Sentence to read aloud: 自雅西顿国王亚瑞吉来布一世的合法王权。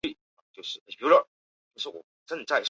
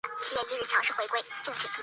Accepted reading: first